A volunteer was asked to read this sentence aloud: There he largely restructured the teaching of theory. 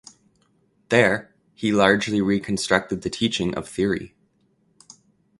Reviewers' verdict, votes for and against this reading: rejected, 1, 2